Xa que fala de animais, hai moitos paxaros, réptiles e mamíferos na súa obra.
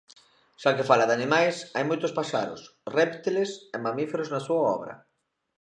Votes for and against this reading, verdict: 2, 0, accepted